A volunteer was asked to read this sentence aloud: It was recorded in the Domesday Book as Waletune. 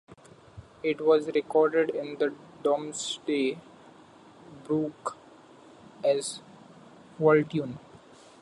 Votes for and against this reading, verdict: 1, 2, rejected